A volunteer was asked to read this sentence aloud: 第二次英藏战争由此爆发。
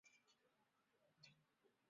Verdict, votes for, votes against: rejected, 0, 2